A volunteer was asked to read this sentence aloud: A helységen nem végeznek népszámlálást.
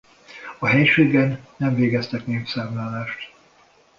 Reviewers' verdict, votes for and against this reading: rejected, 0, 2